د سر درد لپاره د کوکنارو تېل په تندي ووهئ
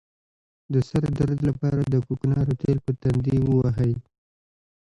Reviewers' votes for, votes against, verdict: 2, 1, accepted